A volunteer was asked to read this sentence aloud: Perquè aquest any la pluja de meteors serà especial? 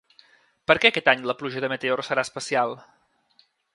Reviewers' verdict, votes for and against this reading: accepted, 2, 0